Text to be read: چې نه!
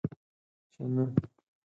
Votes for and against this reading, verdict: 4, 2, accepted